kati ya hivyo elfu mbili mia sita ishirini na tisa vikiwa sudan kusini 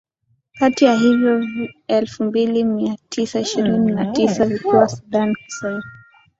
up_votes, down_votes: 4, 1